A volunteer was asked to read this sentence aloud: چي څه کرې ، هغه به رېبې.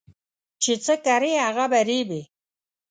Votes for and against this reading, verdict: 2, 0, accepted